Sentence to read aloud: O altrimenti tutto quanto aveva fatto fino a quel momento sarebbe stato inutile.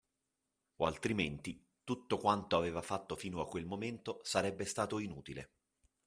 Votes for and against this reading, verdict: 2, 0, accepted